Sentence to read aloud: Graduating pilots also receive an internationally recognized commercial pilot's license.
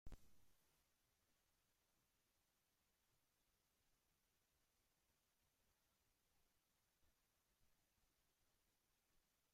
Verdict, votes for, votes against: rejected, 0, 2